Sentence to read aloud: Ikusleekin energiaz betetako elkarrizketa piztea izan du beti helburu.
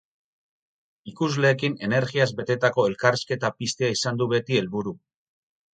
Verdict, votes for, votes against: accepted, 4, 0